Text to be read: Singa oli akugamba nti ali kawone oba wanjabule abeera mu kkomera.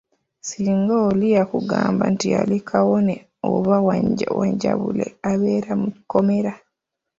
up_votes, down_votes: 0, 2